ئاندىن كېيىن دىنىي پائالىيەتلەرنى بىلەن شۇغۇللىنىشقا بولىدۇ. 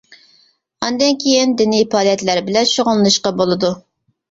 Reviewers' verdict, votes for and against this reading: rejected, 1, 2